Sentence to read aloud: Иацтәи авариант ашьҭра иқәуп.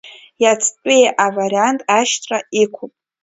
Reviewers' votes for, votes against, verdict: 2, 0, accepted